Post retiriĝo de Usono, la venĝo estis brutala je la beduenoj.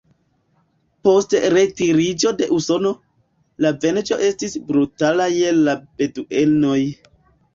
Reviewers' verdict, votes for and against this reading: rejected, 0, 2